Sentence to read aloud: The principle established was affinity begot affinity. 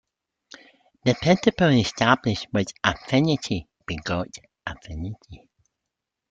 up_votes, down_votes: 2, 1